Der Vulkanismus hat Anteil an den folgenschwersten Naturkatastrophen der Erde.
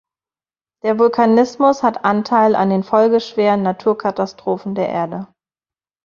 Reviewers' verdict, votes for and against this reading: rejected, 0, 2